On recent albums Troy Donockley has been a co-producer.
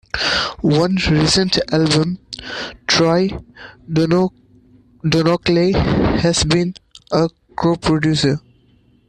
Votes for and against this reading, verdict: 0, 2, rejected